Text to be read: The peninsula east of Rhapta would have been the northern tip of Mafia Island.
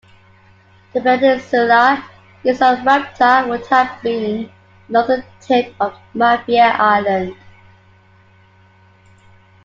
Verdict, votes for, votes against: accepted, 2, 0